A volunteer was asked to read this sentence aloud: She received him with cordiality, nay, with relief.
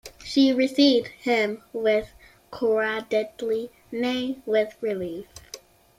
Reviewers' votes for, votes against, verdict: 1, 2, rejected